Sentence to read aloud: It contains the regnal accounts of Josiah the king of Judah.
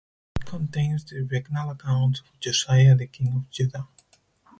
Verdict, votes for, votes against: rejected, 0, 4